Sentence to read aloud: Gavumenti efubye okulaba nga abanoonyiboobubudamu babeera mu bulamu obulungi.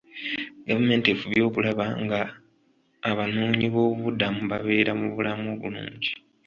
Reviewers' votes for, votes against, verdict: 0, 2, rejected